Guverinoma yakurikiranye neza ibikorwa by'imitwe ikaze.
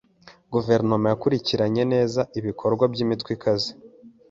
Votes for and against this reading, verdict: 2, 0, accepted